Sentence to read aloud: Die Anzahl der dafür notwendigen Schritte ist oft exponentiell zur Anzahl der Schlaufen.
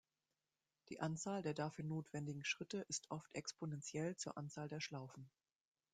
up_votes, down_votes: 2, 1